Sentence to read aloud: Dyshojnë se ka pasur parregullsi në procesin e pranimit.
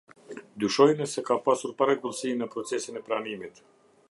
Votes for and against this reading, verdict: 2, 0, accepted